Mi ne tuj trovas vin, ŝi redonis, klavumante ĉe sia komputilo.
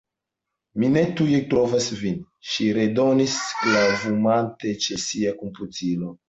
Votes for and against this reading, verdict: 2, 1, accepted